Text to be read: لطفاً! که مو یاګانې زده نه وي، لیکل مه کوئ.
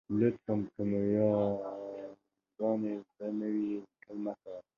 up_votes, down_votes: 1, 2